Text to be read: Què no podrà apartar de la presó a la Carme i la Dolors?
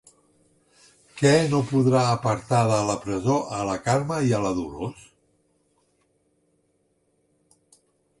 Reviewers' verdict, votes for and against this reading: rejected, 2, 3